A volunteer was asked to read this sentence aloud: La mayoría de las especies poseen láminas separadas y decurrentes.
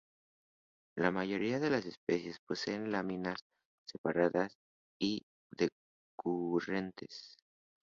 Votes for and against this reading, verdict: 2, 0, accepted